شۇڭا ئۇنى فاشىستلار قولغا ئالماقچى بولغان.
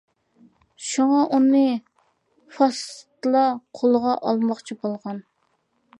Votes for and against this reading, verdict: 1, 2, rejected